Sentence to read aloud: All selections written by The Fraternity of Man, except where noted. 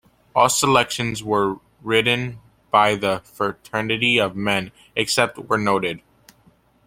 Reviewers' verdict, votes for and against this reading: rejected, 1, 2